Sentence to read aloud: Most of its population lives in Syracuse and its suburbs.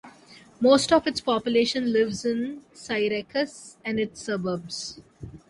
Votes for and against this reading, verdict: 0, 2, rejected